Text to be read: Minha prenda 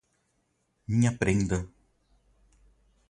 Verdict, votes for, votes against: accepted, 4, 0